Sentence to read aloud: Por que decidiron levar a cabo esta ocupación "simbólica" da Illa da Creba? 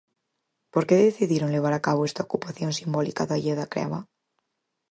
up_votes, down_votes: 4, 0